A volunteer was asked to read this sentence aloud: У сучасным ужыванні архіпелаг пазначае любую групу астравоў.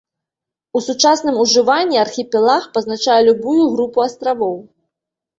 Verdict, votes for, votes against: accepted, 2, 0